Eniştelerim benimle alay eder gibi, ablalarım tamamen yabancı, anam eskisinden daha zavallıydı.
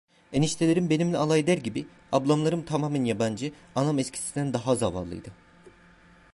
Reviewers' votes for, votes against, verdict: 1, 2, rejected